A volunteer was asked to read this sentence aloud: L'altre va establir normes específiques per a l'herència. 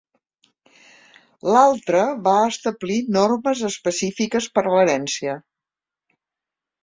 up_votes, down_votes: 3, 0